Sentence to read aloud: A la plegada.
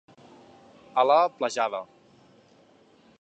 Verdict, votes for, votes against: rejected, 0, 2